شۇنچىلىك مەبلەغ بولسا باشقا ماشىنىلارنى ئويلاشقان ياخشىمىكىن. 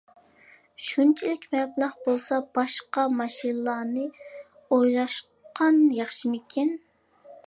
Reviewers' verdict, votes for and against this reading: accepted, 2, 0